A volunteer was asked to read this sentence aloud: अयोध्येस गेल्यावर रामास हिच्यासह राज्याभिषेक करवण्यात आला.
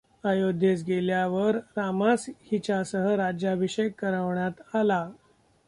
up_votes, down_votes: 0, 2